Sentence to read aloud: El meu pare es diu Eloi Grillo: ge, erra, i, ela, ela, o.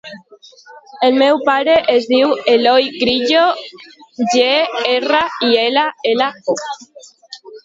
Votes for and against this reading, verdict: 2, 3, rejected